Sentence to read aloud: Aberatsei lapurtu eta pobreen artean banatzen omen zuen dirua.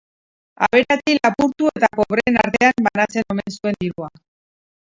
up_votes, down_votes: 0, 4